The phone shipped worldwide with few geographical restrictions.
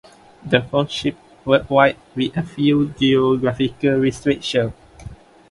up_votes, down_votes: 0, 2